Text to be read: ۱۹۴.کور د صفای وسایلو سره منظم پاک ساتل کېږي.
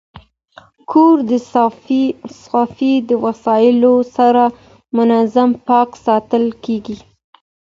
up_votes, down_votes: 0, 2